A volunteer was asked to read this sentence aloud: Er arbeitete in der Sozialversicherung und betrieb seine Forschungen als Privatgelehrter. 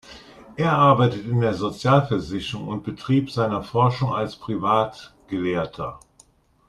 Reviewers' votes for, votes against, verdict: 2, 0, accepted